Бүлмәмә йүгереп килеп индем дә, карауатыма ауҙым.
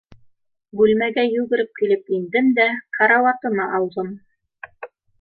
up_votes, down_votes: 1, 2